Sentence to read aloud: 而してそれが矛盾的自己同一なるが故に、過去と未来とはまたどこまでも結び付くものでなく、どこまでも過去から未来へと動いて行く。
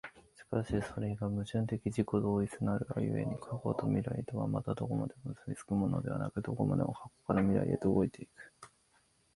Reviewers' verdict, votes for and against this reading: rejected, 1, 2